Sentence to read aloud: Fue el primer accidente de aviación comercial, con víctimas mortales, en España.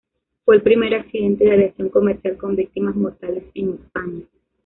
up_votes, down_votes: 0, 2